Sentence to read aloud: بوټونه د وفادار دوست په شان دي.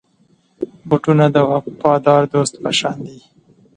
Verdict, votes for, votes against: accepted, 2, 0